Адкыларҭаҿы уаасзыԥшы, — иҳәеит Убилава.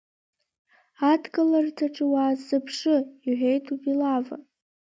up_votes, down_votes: 0, 2